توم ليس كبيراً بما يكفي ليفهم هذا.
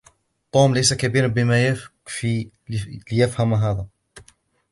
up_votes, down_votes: 0, 2